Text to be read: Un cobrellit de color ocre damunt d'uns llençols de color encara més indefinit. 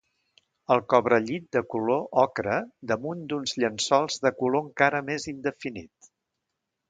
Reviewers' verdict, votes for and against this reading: rejected, 1, 2